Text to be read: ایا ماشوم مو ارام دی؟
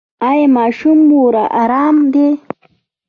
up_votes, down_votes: 2, 0